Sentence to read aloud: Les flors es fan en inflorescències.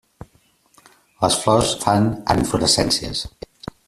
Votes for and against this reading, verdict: 2, 1, accepted